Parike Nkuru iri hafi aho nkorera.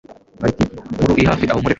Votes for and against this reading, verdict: 0, 2, rejected